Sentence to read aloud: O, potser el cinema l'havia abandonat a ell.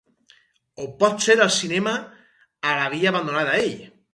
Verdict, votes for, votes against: rejected, 0, 4